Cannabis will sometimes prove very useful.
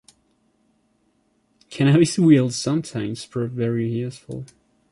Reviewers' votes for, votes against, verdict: 2, 0, accepted